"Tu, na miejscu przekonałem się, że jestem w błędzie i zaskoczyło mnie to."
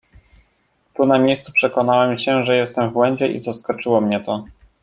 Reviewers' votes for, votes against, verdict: 2, 0, accepted